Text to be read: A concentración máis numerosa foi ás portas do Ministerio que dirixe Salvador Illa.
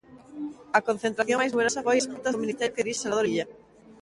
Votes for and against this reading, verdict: 1, 3, rejected